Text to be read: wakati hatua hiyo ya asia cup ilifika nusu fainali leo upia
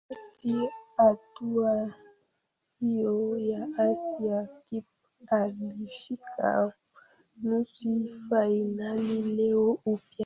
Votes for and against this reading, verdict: 0, 2, rejected